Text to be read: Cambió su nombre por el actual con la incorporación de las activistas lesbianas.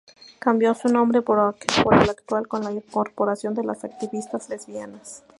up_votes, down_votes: 2, 4